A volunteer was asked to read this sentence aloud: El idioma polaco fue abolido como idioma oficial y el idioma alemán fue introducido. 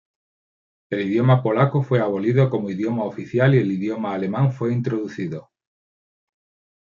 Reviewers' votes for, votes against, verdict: 2, 0, accepted